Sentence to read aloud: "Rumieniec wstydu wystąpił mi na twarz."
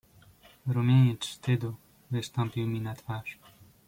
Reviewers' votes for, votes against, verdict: 2, 0, accepted